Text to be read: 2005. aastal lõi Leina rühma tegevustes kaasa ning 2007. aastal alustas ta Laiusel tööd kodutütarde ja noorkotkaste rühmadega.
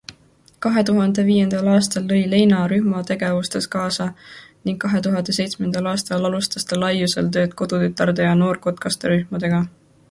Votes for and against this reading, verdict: 0, 2, rejected